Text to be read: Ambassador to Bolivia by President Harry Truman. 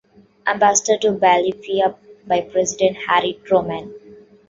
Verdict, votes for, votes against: rejected, 1, 2